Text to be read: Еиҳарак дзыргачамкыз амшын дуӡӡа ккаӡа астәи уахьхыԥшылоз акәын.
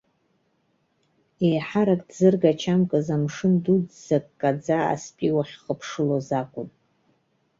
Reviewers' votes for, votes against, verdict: 0, 2, rejected